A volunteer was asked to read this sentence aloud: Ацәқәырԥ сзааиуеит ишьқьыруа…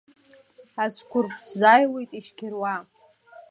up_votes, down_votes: 2, 0